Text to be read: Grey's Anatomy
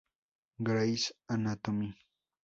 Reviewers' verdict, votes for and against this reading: accepted, 4, 2